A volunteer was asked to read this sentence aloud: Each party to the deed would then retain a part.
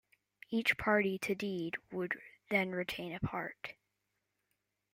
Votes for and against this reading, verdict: 2, 1, accepted